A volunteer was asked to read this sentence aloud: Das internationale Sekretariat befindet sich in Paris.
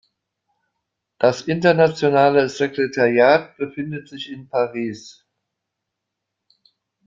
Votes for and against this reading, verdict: 2, 0, accepted